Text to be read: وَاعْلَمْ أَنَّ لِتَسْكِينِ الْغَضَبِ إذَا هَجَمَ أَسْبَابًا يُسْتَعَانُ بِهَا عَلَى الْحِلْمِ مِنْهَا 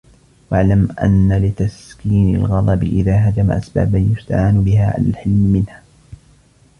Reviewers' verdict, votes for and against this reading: rejected, 1, 2